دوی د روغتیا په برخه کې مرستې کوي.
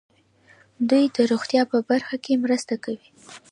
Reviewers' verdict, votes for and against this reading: accepted, 2, 1